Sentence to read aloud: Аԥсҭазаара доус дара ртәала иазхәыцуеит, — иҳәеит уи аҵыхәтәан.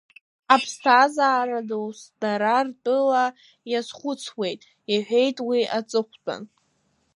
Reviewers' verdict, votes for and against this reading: rejected, 1, 2